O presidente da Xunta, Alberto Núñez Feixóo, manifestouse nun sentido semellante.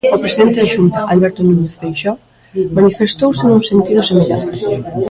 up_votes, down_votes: 0, 2